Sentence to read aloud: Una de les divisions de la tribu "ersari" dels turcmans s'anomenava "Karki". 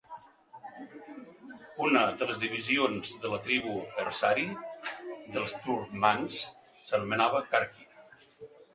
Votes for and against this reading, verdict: 2, 0, accepted